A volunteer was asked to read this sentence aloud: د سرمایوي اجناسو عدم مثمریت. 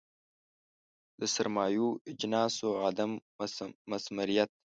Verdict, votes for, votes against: rejected, 0, 2